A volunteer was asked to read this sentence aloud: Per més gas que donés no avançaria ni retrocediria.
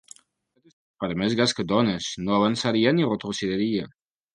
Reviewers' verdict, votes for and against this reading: rejected, 0, 2